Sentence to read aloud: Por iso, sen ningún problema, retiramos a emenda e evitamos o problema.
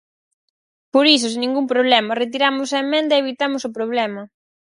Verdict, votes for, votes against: rejected, 2, 4